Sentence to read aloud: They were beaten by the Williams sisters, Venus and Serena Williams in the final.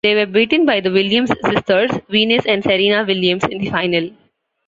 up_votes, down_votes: 2, 1